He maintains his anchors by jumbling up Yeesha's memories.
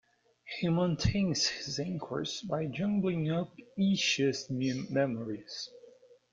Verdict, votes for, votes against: rejected, 0, 2